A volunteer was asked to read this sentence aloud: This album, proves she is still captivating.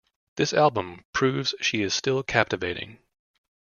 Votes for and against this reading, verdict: 2, 0, accepted